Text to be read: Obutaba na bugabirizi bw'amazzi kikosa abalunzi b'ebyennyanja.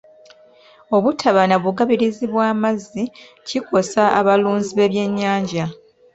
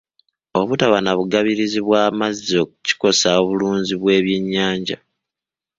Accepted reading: first